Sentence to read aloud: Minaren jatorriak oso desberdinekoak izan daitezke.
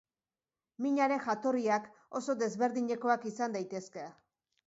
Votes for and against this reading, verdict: 2, 0, accepted